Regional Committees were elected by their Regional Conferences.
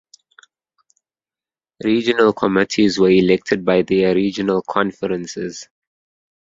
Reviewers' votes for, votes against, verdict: 1, 2, rejected